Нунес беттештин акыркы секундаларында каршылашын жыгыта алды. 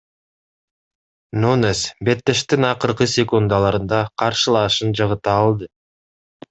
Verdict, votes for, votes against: accepted, 2, 0